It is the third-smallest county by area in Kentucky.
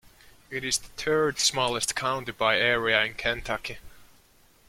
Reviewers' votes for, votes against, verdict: 0, 2, rejected